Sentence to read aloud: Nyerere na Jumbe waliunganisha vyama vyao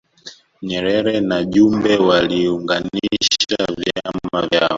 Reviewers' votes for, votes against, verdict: 0, 2, rejected